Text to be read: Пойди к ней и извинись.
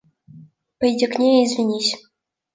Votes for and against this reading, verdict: 2, 0, accepted